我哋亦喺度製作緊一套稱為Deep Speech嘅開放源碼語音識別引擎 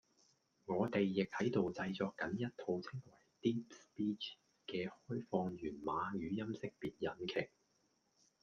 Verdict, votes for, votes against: rejected, 0, 2